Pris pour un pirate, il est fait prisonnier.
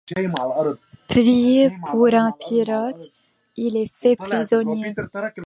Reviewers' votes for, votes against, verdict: 2, 1, accepted